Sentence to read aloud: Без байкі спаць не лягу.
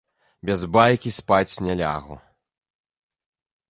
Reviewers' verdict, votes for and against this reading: accepted, 2, 1